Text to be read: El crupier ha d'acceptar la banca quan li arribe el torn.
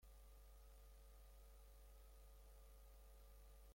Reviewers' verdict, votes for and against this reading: rejected, 0, 3